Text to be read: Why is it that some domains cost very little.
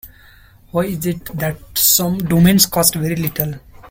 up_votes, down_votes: 2, 1